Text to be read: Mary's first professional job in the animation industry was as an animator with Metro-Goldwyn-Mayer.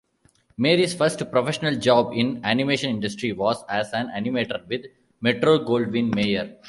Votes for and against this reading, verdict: 0, 2, rejected